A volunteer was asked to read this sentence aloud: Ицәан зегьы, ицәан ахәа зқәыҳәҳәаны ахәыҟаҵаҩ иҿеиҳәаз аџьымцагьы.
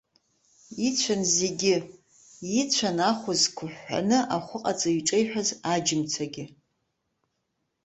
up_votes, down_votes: 2, 0